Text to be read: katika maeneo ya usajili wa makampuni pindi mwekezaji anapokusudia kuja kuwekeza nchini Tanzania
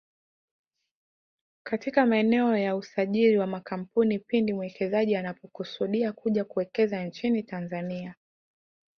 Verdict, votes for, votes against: accepted, 2, 0